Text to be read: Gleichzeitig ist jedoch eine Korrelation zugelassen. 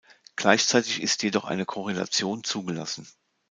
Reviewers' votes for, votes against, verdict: 2, 0, accepted